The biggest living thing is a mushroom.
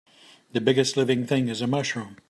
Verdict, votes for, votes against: accepted, 2, 0